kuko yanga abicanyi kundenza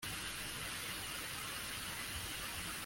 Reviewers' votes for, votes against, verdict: 0, 2, rejected